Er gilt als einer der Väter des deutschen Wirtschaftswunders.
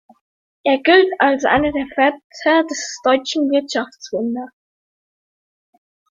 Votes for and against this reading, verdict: 1, 2, rejected